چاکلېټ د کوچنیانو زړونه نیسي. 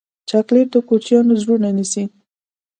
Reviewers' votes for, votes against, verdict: 3, 0, accepted